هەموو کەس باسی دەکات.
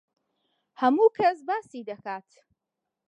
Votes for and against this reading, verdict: 2, 0, accepted